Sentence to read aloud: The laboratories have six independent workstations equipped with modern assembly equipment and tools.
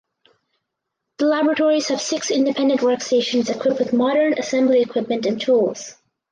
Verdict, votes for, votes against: accepted, 4, 0